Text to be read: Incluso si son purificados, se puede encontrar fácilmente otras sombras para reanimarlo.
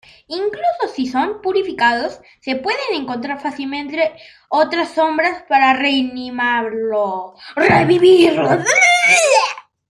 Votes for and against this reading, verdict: 0, 2, rejected